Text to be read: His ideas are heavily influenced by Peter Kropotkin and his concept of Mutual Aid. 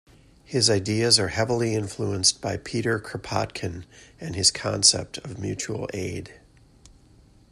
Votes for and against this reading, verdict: 2, 0, accepted